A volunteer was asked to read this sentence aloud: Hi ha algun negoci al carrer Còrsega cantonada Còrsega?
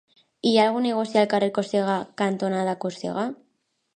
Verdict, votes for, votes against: accepted, 4, 0